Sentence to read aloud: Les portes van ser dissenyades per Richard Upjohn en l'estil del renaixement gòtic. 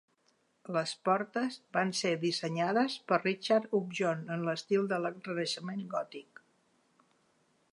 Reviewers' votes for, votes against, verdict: 1, 2, rejected